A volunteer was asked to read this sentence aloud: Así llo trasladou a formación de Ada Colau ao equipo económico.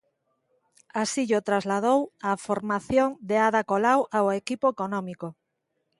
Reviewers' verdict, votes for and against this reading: accepted, 2, 0